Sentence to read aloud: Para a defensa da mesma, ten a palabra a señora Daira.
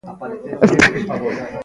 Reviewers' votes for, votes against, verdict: 0, 2, rejected